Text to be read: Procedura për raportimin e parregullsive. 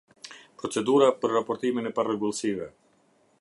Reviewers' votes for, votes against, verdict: 2, 0, accepted